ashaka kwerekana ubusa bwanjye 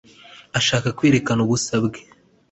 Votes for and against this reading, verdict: 1, 2, rejected